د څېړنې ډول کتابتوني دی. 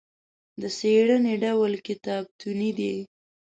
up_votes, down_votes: 2, 0